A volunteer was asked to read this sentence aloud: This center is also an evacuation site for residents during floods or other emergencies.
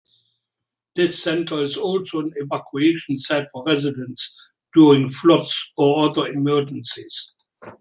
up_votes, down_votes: 2, 0